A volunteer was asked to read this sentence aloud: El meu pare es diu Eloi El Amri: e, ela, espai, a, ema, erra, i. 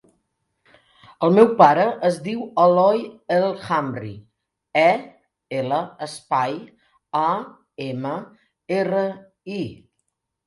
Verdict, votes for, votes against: accepted, 2, 0